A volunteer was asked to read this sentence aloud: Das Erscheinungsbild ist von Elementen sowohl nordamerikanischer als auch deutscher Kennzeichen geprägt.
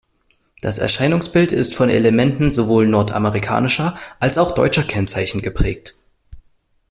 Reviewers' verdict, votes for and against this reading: accepted, 2, 0